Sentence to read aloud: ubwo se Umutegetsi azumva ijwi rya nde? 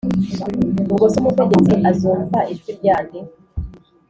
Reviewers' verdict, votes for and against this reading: accepted, 3, 0